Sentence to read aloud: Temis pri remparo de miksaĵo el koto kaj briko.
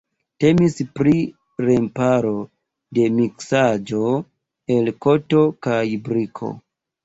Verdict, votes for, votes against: accepted, 2, 1